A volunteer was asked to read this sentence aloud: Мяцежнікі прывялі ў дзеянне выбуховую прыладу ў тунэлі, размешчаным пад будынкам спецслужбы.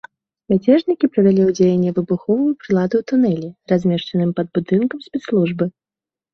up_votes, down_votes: 2, 0